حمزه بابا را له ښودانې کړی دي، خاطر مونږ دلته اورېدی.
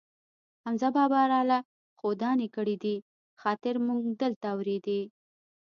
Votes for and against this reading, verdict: 2, 0, accepted